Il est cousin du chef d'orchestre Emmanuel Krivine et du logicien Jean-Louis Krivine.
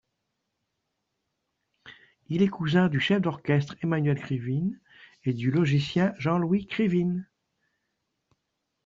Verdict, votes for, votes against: accepted, 2, 0